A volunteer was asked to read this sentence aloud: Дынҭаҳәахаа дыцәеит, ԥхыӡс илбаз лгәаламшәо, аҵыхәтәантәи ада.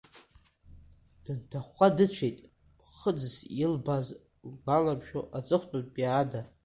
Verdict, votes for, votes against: rejected, 0, 2